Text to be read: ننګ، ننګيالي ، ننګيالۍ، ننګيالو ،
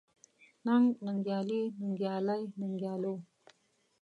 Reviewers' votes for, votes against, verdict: 1, 2, rejected